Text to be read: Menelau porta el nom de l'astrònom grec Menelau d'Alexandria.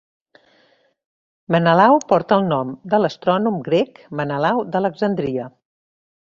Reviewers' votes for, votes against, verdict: 2, 0, accepted